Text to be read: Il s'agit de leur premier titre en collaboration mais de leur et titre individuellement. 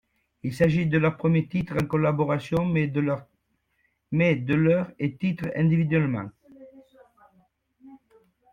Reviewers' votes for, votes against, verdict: 1, 2, rejected